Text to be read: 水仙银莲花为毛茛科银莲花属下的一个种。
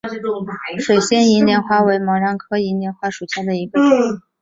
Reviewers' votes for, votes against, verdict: 1, 2, rejected